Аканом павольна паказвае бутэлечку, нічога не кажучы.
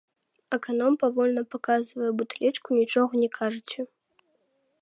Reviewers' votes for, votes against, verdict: 0, 2, rejected